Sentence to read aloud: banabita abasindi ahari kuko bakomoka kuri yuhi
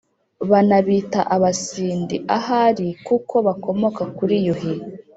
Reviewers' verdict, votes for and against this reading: rejected, 1, 2